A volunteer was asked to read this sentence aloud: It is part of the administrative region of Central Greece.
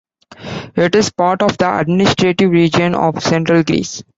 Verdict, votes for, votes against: rejected, 1, 2